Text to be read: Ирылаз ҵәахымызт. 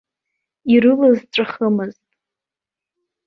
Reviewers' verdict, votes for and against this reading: accepted, 2, 1